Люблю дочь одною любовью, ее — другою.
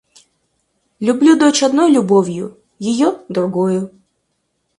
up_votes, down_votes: 2, 4